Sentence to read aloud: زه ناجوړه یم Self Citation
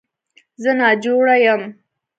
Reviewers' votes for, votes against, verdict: 1, 2, rejected